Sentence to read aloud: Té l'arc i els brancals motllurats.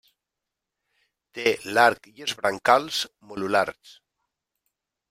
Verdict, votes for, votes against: rejected, 0, 2